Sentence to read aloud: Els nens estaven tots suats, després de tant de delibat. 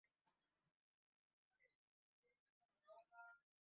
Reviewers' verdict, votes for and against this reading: rejected, 0, 2